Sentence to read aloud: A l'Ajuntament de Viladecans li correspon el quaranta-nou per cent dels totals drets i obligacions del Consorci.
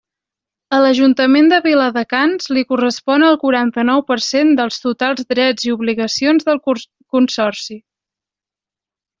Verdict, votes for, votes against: rejected, 0, 2